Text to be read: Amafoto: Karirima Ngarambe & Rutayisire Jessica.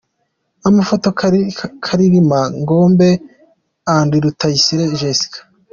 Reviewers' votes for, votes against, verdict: 1, 2, rejected